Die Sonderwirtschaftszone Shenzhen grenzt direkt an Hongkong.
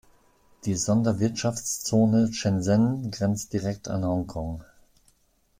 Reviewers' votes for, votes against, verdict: 2, 1, accepted